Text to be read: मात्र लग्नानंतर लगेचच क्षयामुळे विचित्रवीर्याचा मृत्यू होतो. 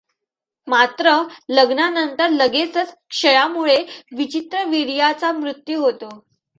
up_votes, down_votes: 2, 0